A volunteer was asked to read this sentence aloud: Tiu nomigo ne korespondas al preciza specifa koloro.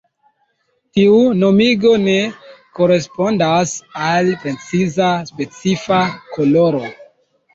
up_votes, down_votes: 2, 1